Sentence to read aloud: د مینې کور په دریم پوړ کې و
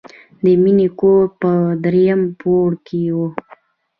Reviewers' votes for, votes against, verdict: 2, 0, accepted